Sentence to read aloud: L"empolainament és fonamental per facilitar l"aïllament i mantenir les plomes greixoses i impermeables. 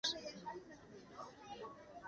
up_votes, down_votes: 0, 2